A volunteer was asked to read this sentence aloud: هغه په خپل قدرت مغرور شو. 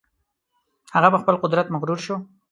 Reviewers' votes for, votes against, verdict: 4, 0, accepted